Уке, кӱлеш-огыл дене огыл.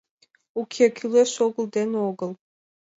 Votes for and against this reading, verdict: 2, 0, accepted